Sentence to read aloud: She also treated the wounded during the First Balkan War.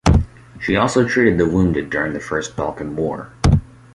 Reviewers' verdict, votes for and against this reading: accepted, 4, 2